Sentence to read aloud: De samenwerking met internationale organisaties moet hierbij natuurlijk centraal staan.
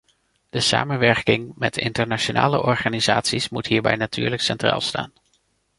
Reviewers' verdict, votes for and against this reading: accepted, 3, 0